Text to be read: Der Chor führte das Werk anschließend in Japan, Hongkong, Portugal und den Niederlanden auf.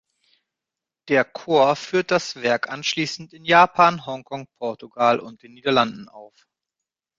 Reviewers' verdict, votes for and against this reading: rejected, 1, 2